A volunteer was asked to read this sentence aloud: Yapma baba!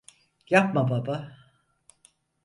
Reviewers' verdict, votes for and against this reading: accepted, 4, 0